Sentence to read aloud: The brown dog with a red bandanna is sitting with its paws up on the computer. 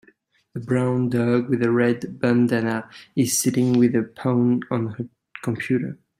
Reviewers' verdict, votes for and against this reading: rejected, 1, 2